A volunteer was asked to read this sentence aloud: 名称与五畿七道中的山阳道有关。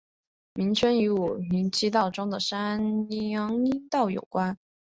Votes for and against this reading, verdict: 3, 0, accepted